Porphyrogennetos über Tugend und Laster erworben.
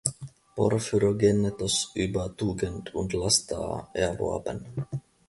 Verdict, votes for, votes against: accepted, 2, 0